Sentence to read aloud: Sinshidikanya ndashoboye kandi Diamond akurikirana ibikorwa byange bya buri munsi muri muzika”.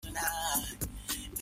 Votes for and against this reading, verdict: 0, 3, rejected